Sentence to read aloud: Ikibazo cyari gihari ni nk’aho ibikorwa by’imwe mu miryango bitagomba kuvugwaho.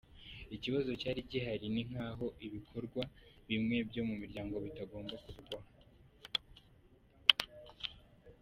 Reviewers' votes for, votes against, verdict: 0, 3, rejected